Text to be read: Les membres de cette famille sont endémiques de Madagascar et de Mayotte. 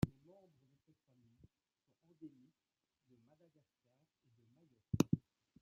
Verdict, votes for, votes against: rejected, 0, 2